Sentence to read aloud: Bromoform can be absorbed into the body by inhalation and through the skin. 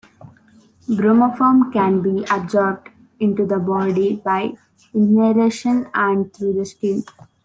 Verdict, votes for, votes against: accepted, 2, 0